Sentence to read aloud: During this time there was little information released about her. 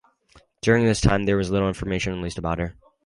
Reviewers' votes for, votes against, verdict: 2, 0, accepted